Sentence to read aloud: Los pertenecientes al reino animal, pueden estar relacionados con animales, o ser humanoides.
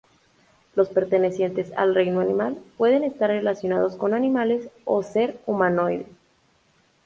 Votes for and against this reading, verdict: 0, 2, rejected